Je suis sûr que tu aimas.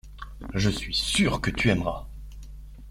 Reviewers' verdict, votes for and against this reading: rejected, 0, 2